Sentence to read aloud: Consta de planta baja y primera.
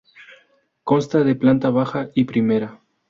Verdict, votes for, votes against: accepted, 2, 0